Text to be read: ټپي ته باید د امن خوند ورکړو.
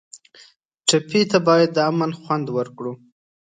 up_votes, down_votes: 2, 0